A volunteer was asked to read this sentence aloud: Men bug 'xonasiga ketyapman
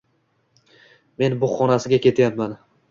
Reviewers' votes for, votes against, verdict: 2, 0, accepted